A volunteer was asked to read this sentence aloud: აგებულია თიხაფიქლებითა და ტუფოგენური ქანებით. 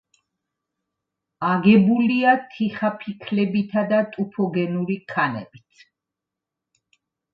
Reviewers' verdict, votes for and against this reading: accepted, 2, 0